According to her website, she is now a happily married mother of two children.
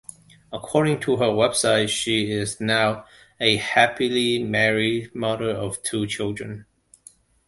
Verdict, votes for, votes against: accepted, 2, 0